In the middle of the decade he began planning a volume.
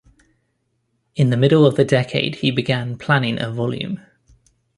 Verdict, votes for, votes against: accepted, 2, 0